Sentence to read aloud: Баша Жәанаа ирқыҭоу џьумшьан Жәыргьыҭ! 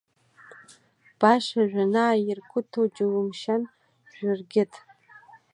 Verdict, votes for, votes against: accepted, 2, 1